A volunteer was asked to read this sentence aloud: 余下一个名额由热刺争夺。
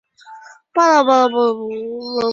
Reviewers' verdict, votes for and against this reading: rejected, 1, 3